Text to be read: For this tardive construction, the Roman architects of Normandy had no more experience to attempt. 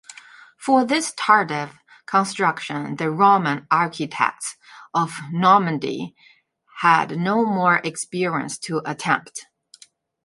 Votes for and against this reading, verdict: 0, 2, rejected